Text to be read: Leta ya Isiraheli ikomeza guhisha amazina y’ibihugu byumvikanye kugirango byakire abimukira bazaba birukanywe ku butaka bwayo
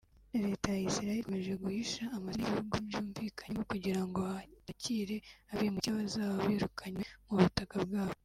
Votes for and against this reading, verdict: 0, 2, rejected